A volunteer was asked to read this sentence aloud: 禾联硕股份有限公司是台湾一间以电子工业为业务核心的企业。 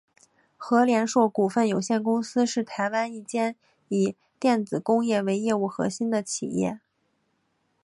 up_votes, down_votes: 5, 1